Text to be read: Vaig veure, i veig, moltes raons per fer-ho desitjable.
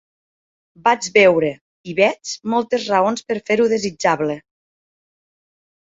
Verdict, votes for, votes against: accepted, 3, 0